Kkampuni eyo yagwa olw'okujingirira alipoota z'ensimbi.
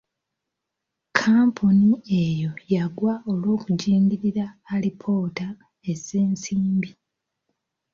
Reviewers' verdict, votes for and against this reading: accepted, 2, 0